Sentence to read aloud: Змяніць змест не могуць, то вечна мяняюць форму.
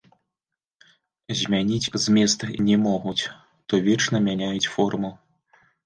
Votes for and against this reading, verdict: 0, 2, rejected